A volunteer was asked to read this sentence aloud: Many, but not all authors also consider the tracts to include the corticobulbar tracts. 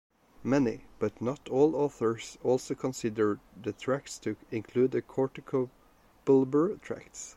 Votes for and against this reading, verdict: 1, 2, rejected